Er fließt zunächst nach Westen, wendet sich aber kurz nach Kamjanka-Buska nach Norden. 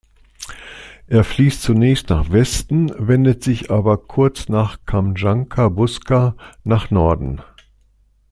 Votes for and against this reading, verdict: 2, 0, accepted